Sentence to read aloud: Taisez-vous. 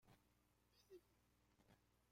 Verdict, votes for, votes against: rejected, 0, 2